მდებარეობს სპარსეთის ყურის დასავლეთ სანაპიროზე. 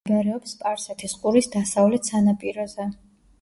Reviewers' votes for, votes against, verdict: 1, 2, rejected